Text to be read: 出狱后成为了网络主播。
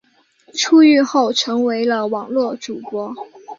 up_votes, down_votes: 0, 2